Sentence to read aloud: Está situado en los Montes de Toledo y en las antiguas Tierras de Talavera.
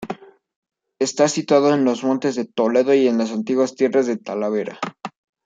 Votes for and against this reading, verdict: 2, 0, accepted